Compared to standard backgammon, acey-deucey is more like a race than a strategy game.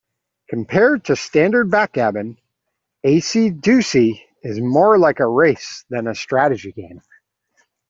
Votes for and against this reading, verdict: 2, 0, accepted